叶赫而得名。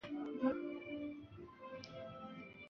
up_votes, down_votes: 1, 3